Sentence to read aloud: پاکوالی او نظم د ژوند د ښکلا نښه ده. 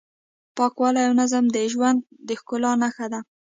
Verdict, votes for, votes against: accepted, 2, 0